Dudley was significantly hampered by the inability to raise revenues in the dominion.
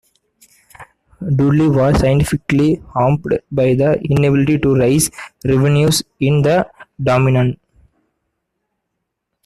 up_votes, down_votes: 0, 2